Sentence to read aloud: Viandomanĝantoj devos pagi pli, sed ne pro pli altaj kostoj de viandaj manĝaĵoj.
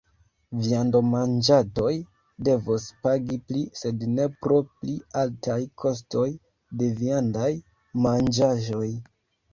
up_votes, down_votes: 1, 2